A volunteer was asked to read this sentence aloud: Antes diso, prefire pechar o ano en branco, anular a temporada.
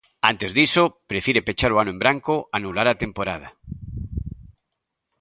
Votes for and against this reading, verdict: 2, 0, accepted